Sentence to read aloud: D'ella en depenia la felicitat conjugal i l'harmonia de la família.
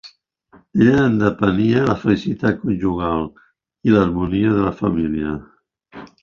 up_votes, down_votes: 2, 0